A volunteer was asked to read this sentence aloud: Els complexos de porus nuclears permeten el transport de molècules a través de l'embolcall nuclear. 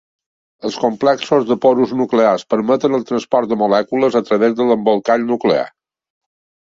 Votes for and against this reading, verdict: 2, 0, accepted